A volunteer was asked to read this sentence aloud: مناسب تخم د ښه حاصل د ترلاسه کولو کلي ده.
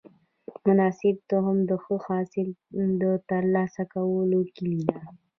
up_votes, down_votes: 2, 0